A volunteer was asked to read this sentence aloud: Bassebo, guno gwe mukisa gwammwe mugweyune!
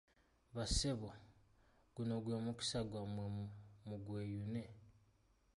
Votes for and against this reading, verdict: 0, 2, rejected